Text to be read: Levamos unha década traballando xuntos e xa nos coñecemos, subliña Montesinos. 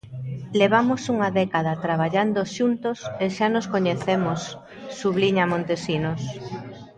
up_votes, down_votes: 0, 2